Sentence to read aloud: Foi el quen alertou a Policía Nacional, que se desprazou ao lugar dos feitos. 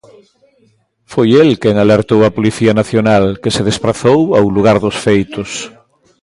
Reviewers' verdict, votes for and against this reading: accepted, 2, 0